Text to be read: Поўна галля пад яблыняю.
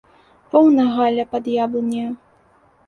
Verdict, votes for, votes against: rejected, 0, 2